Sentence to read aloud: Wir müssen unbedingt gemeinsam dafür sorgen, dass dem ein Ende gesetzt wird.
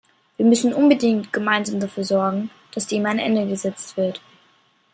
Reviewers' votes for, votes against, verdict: 2, 1, accepted